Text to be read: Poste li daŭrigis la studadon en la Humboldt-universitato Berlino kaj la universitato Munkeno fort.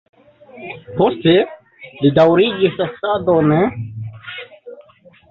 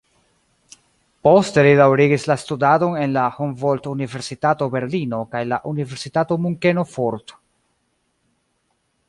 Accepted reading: second